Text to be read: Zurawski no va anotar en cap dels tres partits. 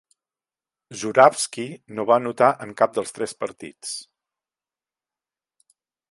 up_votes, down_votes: 2, 0